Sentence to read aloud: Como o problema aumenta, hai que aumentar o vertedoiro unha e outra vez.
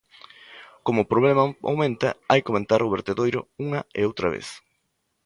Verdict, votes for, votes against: rejected, 1, 2